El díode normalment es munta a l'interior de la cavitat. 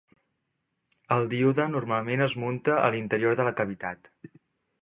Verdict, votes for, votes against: accepted, 3, 0